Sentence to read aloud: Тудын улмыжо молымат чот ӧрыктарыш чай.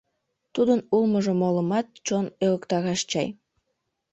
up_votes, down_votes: 1, 2